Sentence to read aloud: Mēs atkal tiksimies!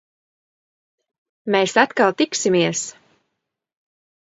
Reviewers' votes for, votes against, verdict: 2, 0, accepted